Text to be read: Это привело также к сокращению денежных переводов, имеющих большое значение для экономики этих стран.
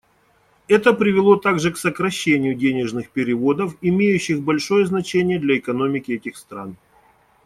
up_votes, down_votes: 2, 0